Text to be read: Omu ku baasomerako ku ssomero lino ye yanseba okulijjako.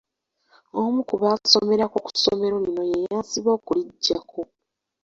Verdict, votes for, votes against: accepted, 2, 1